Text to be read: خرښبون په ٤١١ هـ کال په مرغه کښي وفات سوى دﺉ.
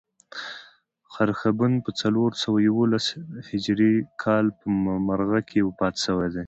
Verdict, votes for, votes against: rejected, 0, 2